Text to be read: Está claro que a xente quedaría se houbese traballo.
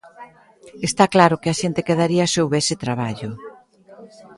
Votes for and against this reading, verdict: 2, 0, accepted